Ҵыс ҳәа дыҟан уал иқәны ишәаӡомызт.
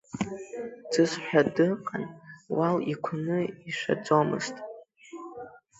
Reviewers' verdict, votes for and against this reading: rejected, 0, 2